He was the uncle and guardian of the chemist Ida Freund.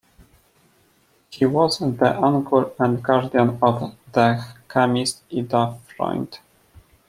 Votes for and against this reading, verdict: 2, 0, accepted